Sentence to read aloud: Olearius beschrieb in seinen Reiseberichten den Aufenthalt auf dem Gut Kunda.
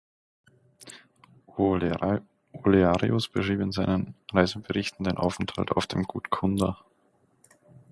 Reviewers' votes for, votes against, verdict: 1, 2, rejected